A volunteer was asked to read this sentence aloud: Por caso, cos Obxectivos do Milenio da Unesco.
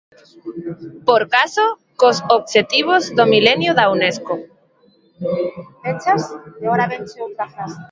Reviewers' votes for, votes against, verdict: 1, 2, rejected